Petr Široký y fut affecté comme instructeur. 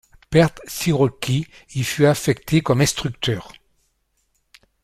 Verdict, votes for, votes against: rejected, 0, 2